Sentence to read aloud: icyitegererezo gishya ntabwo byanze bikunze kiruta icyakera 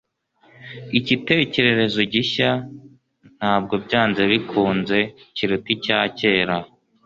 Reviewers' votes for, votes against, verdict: 1, 2, rejected